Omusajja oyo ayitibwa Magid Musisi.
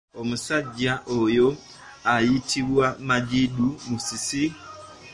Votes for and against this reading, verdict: 2, 0, accepted